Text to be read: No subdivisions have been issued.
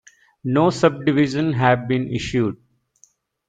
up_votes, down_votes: 1, 2